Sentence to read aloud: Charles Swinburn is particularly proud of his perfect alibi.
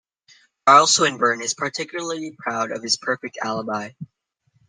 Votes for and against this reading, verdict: 0, 2, rejected